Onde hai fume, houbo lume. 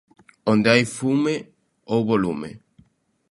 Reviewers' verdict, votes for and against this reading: accepted, 2, 0